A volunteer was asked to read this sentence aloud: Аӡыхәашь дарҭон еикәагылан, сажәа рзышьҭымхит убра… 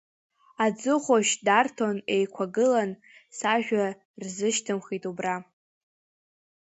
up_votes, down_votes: 1, 2